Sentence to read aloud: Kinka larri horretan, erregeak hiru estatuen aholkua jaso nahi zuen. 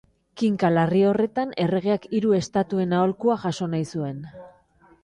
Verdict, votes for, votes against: accepted, 2, 0